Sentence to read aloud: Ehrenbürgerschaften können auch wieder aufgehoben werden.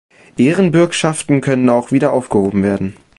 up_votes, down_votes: 0, 2